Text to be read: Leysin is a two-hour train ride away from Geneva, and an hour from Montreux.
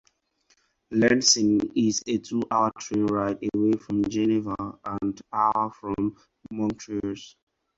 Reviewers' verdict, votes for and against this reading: rejected, 2, 4